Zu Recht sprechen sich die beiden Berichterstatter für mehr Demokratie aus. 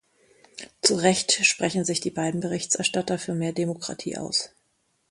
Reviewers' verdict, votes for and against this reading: rejected, 0, 2